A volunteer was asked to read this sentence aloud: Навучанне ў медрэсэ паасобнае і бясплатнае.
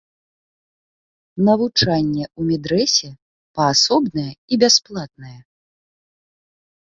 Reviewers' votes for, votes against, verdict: 1, 2, rejected